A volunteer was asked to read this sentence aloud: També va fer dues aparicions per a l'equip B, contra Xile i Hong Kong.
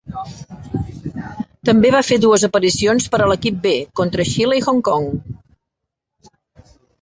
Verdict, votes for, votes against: rejected, 1, 2